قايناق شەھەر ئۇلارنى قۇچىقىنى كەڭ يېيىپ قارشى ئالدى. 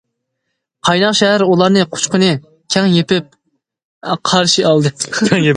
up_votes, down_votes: 1, 2